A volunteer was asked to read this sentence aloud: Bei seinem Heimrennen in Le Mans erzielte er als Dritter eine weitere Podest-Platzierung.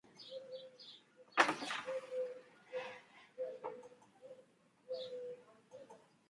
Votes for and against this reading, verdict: 0, 2, rejected